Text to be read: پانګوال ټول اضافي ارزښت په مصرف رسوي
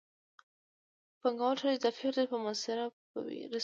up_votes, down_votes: 0, 2